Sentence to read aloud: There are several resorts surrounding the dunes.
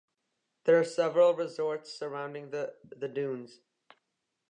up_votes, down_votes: 0, 2